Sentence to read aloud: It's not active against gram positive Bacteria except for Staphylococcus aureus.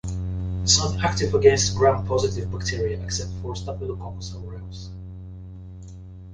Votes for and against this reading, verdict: 1, 2, rejected